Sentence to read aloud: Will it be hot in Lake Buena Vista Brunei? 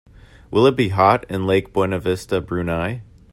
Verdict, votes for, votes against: accepted, 3, 0